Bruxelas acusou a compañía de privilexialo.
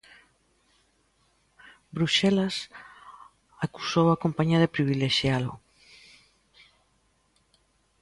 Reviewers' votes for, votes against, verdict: 2, 0, accepted